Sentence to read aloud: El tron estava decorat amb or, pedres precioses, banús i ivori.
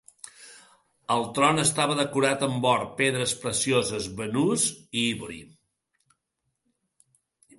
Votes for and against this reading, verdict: 1, 2, rejected